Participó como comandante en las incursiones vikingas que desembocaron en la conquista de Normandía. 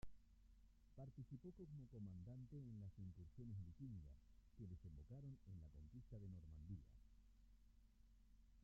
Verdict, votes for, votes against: rejected, 1, 2